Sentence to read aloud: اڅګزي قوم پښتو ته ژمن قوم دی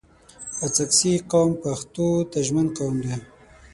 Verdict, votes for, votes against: accepted, 6, 0